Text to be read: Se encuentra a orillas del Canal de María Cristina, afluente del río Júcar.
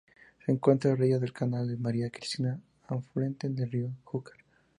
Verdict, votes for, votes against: rejected, 0, 2